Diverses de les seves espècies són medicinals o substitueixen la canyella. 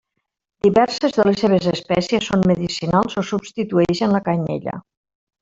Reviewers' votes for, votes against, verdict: 0, 2, rejected